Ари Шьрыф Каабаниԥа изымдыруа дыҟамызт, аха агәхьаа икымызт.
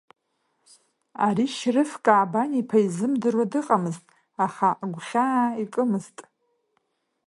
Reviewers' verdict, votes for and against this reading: accepted, 2, 0